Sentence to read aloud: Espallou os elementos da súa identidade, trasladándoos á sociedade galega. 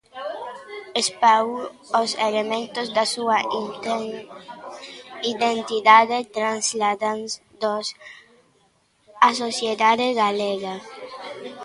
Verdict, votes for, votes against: rejected, 0, 2